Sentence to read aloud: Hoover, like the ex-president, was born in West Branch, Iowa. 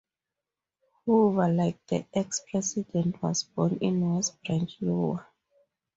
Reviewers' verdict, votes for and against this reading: rejected, 0, 2